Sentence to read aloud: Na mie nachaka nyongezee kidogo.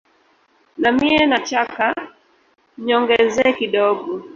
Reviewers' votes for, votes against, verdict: 0, 2, rejected